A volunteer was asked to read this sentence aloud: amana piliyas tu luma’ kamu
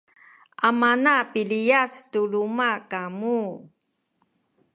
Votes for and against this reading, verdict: 2, 0, accepted